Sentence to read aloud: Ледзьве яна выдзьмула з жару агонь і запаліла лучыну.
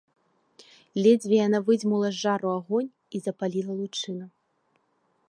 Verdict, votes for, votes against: accepted, 2, 0